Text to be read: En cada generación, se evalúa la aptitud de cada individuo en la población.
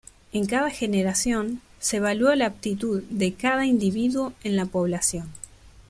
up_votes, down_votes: 2, 0